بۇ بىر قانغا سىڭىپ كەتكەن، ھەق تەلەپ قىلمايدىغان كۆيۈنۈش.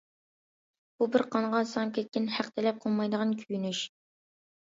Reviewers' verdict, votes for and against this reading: accepted, 2, 0